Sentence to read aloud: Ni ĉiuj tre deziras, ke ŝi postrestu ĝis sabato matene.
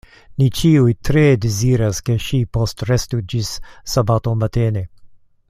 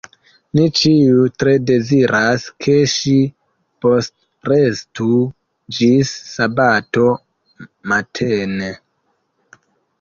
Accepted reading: first